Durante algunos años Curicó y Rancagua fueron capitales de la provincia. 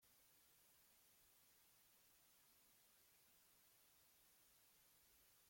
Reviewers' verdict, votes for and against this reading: rejected, 0, 2